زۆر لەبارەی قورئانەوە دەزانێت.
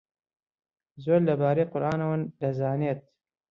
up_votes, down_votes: 0, 2